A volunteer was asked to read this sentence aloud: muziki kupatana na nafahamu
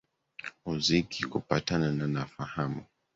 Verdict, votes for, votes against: rejected, 0, 2